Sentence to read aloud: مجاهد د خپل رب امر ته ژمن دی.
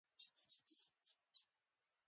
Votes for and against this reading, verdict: 1, 2, rejected